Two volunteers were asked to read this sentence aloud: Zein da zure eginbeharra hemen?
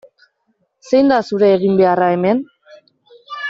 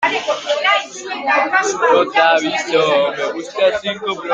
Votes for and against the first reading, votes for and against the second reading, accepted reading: 2, 0, 0, 2, first